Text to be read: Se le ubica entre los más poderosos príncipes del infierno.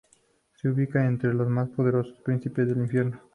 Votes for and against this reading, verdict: 2, 0, accepted